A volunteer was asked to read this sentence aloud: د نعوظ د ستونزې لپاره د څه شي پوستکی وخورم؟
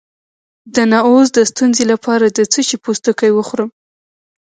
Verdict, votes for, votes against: accepted, 3, 1